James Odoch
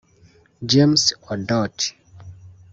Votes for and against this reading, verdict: 0, 2, rejected